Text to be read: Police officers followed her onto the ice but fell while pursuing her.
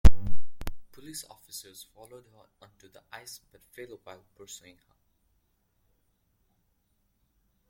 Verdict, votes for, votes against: rejected, 1, 2